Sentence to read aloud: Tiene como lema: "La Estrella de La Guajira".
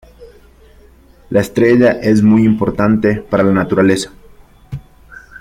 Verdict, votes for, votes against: rejected, 0, 2